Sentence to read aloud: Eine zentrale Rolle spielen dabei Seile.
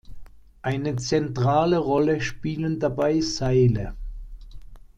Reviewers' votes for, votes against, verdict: 2, 0, accepted